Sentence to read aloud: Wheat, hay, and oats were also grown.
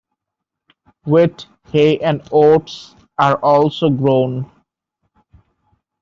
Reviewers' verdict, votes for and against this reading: rejected, 0, 2